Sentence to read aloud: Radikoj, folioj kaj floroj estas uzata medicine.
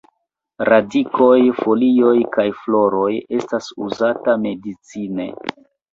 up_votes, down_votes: 2, 0